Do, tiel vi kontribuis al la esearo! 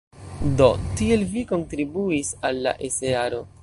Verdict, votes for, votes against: accepted, 2, 1